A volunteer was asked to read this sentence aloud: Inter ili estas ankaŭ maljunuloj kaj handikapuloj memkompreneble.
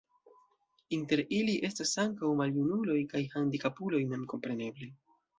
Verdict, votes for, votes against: accepted, 2, 0